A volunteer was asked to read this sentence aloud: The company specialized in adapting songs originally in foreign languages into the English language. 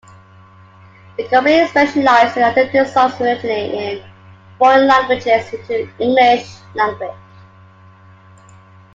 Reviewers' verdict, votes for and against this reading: rejected, 0, 2